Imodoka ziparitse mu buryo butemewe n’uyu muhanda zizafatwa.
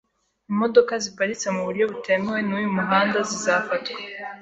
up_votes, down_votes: 2, 0